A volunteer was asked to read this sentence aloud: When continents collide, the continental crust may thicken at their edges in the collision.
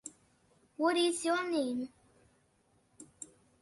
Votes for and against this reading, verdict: 0, 2, rejected